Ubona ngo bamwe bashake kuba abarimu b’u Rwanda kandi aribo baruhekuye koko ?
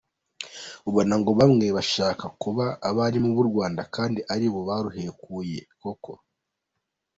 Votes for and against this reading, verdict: 2, 1, accepted